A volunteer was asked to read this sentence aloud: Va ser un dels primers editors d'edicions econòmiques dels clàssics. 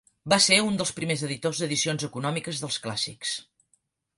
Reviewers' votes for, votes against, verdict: 4, 0, accepted